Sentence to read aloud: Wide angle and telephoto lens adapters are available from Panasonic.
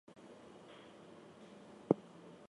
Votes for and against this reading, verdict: 0, 4, rejected